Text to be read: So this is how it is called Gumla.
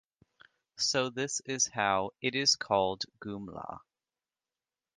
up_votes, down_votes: 2, 0